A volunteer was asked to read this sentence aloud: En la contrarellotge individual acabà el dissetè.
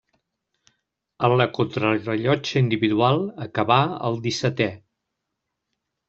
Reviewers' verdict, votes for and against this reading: accepted, 2, 0